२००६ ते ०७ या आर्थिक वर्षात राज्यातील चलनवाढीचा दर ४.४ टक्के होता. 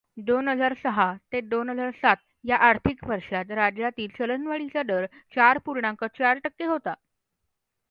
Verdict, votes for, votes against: rejected, 0, 2